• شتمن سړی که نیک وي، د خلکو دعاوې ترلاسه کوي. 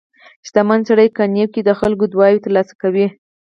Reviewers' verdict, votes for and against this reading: accepted, 4, 0